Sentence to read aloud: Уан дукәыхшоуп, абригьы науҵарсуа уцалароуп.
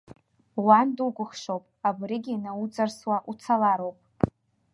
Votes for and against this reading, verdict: 2, 0, accepted